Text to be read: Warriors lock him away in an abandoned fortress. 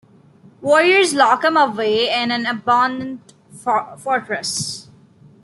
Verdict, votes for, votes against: rejected, 0, 2